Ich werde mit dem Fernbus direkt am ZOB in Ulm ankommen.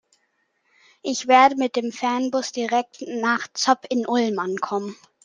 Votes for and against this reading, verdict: 0, 2, rejected